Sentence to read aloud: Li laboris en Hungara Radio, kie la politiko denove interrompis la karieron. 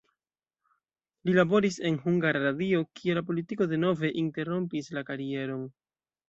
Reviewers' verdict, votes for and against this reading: accepted, 2, 0